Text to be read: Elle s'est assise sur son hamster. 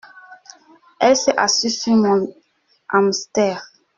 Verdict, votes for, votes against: rejected, 0, 2